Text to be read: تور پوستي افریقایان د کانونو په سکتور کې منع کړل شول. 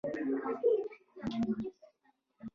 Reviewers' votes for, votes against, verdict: 0, 2, rejected